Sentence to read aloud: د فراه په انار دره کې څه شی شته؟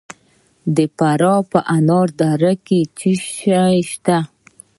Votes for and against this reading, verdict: 1, 2, rejected